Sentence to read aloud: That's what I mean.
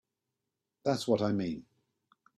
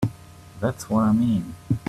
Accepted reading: first